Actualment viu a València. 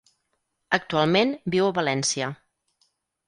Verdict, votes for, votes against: accepted, 4, 0